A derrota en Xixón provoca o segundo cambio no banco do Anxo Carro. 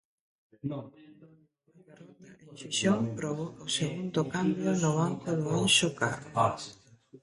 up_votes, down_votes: 0, 2